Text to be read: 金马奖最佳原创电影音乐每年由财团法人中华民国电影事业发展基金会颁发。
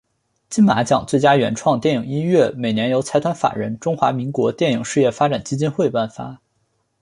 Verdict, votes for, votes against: accepted, 6, 0